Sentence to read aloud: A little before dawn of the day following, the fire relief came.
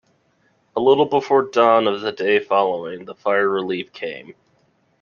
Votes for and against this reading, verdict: 2, 0, accepted